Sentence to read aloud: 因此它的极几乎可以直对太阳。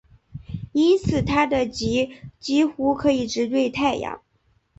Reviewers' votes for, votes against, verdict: 3, 0, accepted